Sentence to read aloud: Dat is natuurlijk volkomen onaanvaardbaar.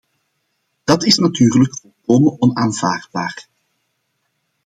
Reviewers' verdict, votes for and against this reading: accepted, 2, 0